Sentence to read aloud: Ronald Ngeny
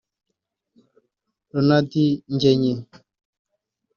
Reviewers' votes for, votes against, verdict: 2, 0, accepted